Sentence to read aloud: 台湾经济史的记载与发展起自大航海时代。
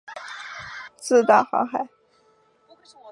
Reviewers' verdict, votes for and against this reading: rejected, 1, 2